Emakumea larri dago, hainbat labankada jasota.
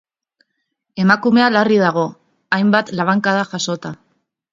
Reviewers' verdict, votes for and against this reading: accepted, 2, 0